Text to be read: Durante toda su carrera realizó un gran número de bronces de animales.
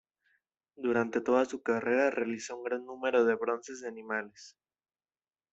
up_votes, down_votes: 2, 0